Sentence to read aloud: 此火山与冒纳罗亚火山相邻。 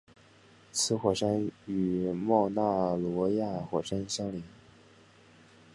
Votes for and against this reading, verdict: 3, 0, accepted